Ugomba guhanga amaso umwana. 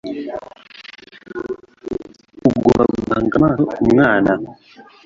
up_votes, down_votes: 1, 2